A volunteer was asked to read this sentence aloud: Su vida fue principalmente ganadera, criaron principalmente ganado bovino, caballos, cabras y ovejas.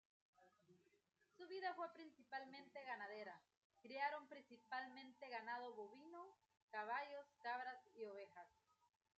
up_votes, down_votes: 0, 2